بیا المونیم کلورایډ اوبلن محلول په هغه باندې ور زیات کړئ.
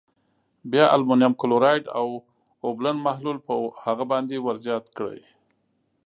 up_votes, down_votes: 2, 0